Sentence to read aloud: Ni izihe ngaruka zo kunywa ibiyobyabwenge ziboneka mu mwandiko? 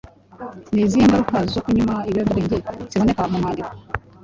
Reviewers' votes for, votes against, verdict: 1, 2, rejected